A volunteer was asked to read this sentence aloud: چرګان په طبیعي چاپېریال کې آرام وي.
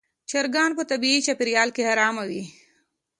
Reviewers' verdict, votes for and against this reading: accepted, 2, 0